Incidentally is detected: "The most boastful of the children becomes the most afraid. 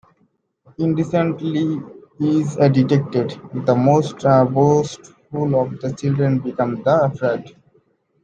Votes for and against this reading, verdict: 0, 2, rejected